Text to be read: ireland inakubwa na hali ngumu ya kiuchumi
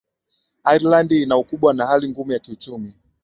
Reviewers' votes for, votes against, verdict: 2, 1, accepted